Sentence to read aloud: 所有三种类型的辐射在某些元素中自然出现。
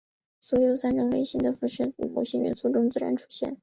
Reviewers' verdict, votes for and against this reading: accepted, 3, 0